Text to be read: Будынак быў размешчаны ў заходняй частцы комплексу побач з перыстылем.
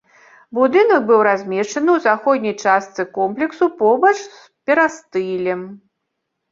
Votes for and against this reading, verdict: 2, 1, accepted